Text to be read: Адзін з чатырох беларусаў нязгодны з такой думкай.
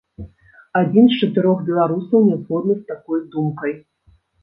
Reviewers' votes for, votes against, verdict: 2, 0, accepted